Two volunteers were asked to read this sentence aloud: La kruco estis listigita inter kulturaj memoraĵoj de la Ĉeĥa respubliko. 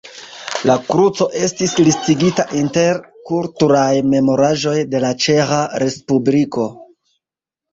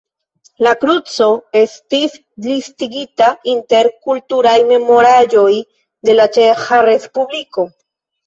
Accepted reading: first